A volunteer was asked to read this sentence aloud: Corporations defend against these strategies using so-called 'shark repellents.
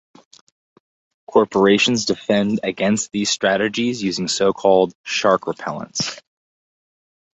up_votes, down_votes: 4, 0